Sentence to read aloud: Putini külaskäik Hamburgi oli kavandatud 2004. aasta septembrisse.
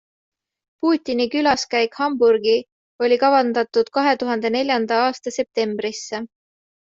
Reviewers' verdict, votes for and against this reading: rejected, 0, 2